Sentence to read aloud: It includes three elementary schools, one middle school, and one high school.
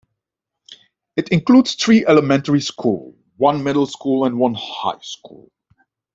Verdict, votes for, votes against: rejected, 0, 2